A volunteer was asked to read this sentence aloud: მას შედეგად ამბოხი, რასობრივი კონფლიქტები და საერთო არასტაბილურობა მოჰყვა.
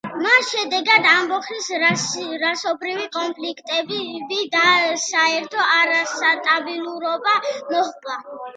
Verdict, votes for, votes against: accepted, 2, 1